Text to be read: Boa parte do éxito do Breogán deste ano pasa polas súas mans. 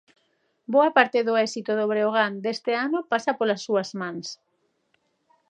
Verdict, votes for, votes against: accepted, 2, 0